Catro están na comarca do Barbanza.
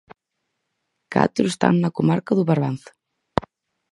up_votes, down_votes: 4, 0